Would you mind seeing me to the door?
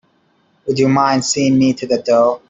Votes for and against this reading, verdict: 2, 0, accepted